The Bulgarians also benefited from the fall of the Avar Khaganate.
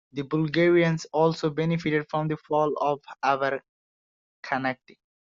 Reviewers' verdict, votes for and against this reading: accepted, 2, 1